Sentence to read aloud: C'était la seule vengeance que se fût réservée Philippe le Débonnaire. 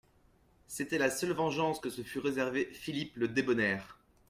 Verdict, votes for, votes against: accepted, 2, 0